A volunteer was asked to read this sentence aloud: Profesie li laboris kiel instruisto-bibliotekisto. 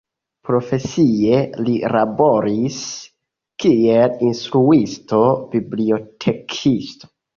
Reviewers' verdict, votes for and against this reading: accepted, 2, 0